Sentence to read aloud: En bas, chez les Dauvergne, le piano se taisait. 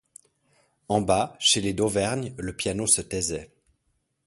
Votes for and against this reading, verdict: 2, 0, accepted